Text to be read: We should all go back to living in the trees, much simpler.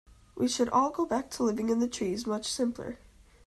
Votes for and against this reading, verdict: 2, 0, accepted